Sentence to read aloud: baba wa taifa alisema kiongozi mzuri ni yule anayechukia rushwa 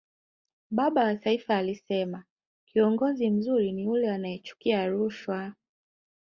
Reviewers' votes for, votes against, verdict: 2, 1, accepted